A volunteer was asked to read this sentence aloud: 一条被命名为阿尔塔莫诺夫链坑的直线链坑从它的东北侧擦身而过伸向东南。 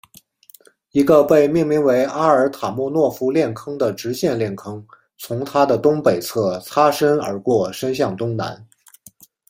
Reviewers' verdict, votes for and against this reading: rejected, 1, 2